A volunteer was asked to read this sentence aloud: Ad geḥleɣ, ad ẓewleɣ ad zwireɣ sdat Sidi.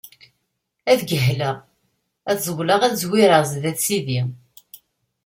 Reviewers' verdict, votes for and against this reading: accepted, 2, 0